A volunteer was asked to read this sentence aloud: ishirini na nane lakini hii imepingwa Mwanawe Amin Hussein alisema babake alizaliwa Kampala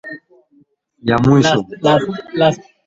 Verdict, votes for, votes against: rejected, 0, 2